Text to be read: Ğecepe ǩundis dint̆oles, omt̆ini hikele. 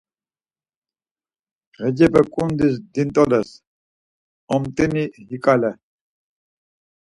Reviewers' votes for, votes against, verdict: 2, 4, rejected